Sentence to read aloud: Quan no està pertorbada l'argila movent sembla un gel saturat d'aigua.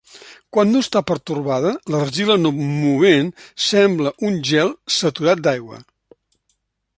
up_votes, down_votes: 0, 2